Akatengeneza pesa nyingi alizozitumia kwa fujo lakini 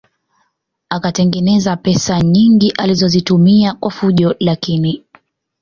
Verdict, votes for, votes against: accepted, 2, 0